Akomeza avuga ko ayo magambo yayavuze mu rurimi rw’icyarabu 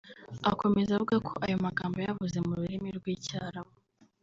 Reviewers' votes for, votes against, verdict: 0, 2, rejected